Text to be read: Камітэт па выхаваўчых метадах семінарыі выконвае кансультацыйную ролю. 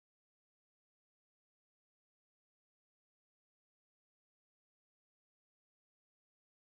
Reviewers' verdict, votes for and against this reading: rejected, 0, 2